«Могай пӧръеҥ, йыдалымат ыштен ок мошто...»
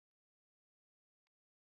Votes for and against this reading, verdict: 0, 4, rejected